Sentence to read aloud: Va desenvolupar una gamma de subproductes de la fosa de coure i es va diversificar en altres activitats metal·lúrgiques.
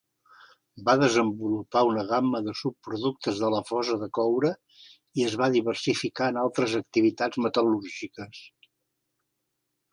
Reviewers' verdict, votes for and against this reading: accepted, 3, 0